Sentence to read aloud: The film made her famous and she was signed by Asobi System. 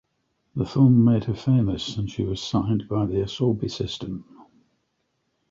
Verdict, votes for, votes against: rejected, 1, 2